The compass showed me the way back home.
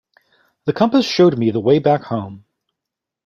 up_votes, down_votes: 2, 0